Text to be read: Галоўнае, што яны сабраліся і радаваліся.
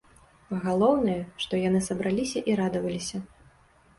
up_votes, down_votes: 2, 0